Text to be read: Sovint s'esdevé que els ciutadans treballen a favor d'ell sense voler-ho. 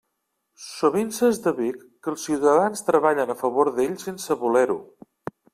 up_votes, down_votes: 2, 1